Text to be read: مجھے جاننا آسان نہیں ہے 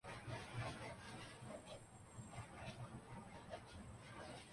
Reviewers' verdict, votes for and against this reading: rejected, 0, 2